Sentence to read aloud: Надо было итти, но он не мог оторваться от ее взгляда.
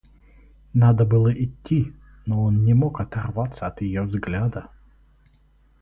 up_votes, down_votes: 2, 2